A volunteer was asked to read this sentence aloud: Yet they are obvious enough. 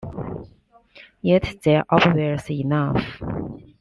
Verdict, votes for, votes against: accepted, 2, 0